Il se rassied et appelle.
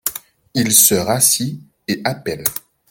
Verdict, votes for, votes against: rejected, 0, 2